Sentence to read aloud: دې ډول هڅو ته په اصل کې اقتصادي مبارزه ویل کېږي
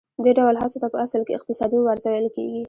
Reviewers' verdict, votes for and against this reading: rejected, 1, 2